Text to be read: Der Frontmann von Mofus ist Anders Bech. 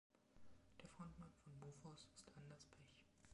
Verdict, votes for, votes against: rejected, 1, 2